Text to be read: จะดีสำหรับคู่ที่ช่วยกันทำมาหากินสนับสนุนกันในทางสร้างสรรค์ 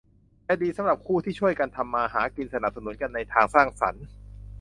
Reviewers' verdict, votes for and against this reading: accepted, 2, 0